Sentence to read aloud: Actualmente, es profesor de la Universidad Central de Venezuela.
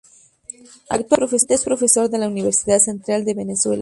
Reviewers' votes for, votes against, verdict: 2, 4, rejected